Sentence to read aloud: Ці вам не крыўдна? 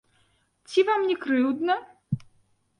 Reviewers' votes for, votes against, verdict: 2, 0, accepted